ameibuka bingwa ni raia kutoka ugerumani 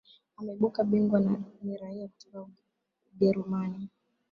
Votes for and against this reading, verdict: 0, 2, rejected